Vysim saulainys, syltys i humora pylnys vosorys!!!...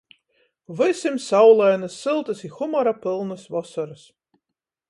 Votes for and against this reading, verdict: 14, 0, accepted